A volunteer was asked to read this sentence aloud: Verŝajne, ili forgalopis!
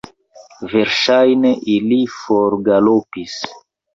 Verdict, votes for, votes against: rejected, 1, 2